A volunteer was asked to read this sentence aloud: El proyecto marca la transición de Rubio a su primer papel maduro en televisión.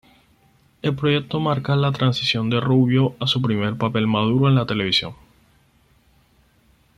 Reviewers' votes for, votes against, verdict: 2, 4, rejected